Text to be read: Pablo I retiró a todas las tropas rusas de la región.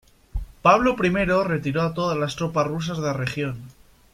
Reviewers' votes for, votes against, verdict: 1, 2, rejected